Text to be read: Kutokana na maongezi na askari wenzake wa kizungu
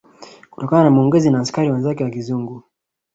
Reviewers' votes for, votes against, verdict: 2, 0, accepted